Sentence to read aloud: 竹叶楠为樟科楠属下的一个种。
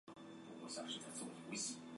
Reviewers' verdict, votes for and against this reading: rejected, 2, 3